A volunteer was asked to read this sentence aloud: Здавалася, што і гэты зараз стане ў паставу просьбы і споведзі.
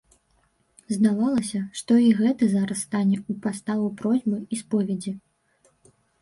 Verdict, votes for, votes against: rejected, 1, 2